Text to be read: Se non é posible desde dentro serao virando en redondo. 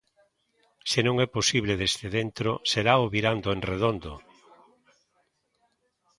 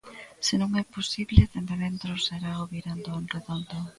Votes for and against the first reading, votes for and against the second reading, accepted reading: 2, 0, 0, 2, first